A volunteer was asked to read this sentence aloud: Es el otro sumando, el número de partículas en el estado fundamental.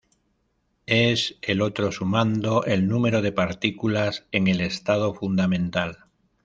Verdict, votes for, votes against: accepted, 2, 0